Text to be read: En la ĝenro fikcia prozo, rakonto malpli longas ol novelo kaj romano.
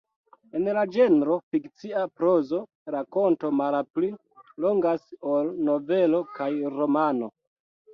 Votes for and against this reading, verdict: 0, 2, rejected